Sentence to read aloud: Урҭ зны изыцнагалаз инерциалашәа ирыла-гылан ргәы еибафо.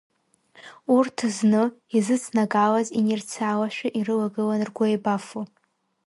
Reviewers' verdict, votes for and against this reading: accepted, 4, 1